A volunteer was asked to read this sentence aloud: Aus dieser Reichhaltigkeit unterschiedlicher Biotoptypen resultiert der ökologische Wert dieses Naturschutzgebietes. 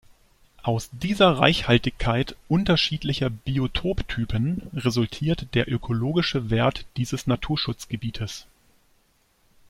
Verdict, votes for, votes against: accepted, 2, 0